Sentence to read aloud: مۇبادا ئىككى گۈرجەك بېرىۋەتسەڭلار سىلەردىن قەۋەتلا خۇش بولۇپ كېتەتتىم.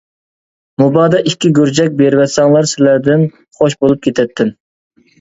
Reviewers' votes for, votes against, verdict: 0, 2, rejected